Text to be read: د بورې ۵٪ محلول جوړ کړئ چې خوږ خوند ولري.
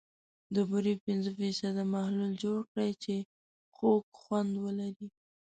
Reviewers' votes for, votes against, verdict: 0, 2, rejected